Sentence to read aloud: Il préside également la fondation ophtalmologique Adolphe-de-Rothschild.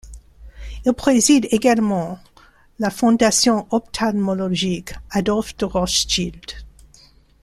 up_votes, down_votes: 1, 2